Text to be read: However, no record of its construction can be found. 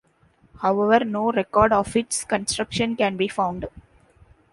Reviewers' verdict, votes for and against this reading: accepted, 2, 0